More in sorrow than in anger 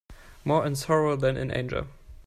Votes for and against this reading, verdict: 1, 2, rejected